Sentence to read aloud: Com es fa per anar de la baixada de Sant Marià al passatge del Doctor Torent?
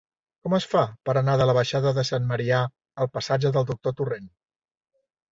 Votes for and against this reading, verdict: 0, 2, rejected